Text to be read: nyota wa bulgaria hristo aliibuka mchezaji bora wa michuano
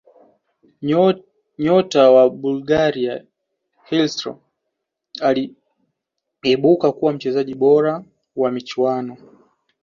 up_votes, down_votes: 1, 2